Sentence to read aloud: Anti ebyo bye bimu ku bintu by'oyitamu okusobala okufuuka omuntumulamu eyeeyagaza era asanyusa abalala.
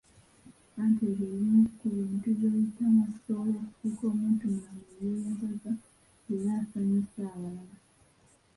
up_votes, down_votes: 1, 2